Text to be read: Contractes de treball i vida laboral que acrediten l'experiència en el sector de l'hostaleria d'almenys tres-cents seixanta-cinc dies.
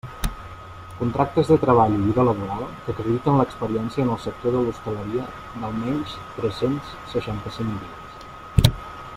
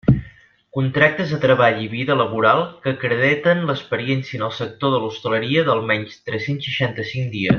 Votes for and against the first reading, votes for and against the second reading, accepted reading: 2, 0, 1, 2, first